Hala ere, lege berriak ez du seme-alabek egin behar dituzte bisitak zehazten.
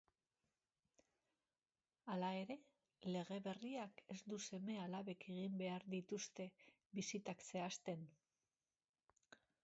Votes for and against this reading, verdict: 2, 0, accepted